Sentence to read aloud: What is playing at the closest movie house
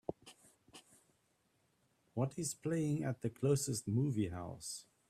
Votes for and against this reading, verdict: 2, 0, accepted